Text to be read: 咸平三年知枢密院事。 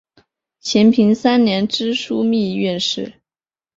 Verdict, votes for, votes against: accepted, 6, 1